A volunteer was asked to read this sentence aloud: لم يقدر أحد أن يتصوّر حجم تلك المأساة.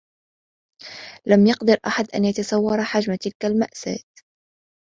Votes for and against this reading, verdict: 2, 1, accepted